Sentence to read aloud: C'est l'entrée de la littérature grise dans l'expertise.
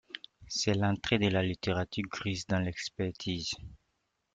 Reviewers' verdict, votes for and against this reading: rejected, 1, 2